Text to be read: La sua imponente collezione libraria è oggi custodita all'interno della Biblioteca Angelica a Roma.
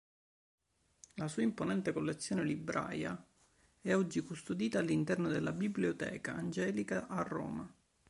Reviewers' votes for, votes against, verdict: 1, 2, rejected